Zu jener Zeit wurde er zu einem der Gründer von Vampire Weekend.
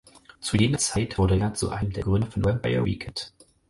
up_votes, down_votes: 4, 0